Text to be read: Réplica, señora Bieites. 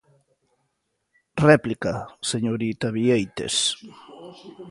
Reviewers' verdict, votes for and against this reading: rejected, 0, 3